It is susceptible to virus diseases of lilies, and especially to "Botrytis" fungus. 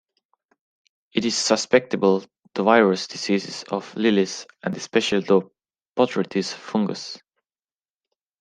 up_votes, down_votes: 0, 2